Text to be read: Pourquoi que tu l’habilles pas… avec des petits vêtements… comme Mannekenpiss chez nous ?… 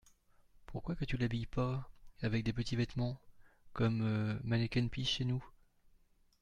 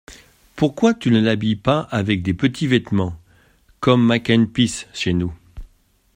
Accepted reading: first